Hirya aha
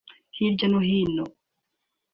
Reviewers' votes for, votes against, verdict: 0, 2, rejected